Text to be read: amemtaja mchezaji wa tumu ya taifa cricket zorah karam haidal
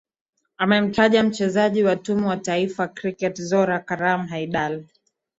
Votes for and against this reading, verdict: 3, 0, accepted